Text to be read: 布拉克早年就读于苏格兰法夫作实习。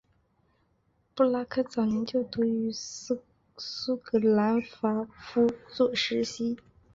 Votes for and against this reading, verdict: 0, 2, rejected